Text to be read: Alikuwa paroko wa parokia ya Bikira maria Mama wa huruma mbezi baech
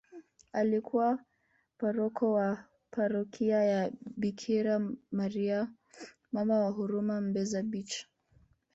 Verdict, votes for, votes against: rejected, 1, 2